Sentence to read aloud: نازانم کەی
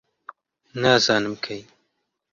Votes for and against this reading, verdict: 2, 0, accepted